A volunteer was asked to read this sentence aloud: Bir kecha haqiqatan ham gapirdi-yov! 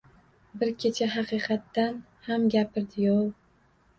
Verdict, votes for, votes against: rejected, 1, 2